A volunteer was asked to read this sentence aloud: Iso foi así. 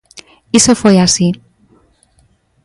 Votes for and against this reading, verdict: 2, 0, accepted